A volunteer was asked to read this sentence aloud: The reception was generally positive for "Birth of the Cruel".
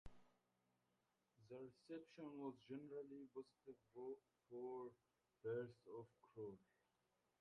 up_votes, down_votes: 0, 2